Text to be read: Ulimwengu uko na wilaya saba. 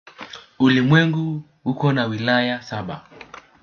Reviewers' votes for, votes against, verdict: 2, 0, accepted